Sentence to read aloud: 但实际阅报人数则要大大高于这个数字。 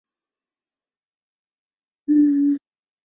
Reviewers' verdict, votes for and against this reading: rejected, 2, 7